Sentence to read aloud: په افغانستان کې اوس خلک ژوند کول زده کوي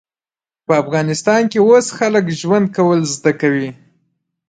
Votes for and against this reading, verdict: 0, 2, rejected